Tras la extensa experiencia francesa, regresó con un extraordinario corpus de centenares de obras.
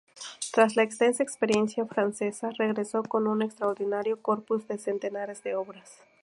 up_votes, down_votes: 2, 0